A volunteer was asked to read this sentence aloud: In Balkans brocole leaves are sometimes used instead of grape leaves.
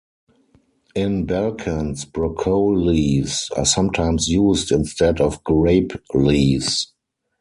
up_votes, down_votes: 2, 4